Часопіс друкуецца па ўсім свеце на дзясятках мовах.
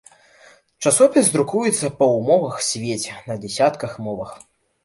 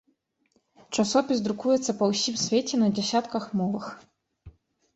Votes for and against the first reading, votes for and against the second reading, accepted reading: 1, 2, 2, 0, second